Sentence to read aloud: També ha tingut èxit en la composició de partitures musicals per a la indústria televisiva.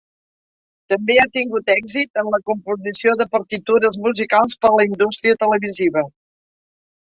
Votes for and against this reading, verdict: 0, 2, rejected